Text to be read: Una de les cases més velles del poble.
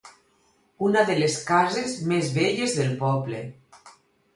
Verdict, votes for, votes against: accepted, 4, 0